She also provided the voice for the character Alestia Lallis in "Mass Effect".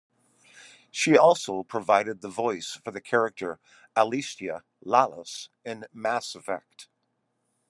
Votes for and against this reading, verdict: 2, 0, accepted